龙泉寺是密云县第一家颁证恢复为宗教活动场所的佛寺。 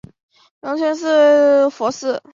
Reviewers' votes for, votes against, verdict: 0, 4, rejected